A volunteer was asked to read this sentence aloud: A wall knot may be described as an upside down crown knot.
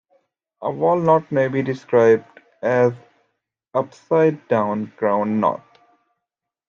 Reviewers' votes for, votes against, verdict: 1, 2, rejected